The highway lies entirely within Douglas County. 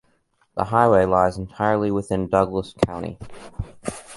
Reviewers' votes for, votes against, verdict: 2, 0, accepted